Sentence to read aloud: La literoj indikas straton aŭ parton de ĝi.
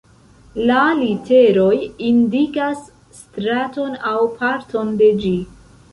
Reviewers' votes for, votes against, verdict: 0, 2, rejected